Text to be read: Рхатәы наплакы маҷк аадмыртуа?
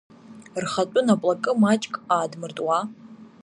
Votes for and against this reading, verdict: 2, 0, accepted